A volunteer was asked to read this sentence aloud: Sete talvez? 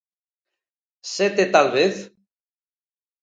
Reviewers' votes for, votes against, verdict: 2, 0, accepted